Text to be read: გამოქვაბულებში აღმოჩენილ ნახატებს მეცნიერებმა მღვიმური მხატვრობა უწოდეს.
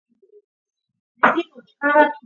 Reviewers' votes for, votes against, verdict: 0, 2, rejected